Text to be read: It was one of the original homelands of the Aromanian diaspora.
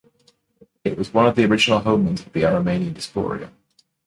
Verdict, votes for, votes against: rejected, 1, 2